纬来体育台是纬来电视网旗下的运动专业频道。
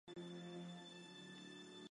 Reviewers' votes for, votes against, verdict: 1, 2, rejected